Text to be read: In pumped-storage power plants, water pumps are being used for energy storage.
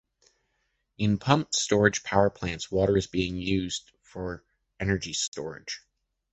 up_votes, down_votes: 0, 2